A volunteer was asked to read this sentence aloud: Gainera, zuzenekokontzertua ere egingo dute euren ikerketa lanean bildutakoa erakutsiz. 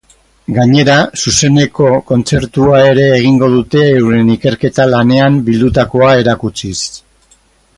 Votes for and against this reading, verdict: 2, 4, rejected